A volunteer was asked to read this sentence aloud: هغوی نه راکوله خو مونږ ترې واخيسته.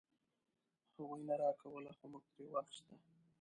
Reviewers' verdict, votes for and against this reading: rejected, 0, 2